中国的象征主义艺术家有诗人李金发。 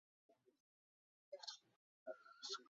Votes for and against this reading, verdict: 0, 2, rejected